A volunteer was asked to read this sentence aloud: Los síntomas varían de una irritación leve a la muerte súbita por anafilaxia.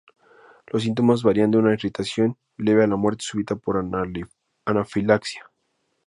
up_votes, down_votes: 2, 0